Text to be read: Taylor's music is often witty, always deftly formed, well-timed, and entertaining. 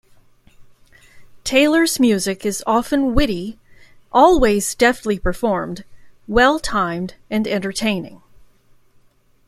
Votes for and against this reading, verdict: 0, 2, rejected